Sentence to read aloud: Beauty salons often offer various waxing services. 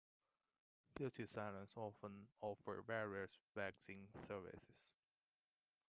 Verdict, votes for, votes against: rejected, 1, 2